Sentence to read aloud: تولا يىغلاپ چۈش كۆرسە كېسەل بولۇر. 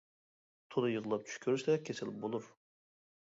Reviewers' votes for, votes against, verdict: 0, 2, rejected